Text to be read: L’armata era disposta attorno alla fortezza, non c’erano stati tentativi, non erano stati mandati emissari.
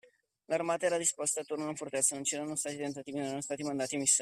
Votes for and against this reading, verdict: 0, 2, rejected